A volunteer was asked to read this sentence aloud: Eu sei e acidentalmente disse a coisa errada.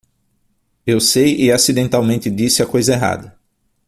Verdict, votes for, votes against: accepted, 6, 0